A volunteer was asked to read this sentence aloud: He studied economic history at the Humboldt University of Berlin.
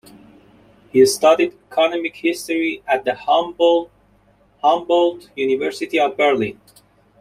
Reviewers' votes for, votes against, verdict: 1, 2, rejected